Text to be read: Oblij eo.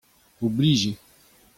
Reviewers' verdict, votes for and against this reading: accepted, 2, 0